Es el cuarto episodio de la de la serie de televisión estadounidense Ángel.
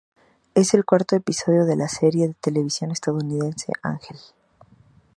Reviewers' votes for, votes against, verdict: 2, 0, accepted